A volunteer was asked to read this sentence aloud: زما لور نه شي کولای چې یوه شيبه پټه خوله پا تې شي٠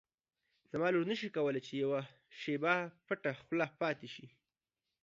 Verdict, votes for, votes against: rejected, 0, 2